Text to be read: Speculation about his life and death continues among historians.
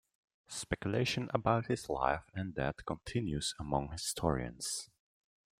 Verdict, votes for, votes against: accepted, 2, 1